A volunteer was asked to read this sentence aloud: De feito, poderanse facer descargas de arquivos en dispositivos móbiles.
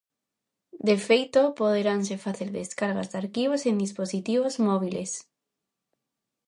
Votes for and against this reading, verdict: 2, 0, accepted